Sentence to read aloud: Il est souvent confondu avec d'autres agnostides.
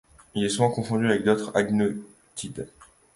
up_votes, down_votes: 1, 2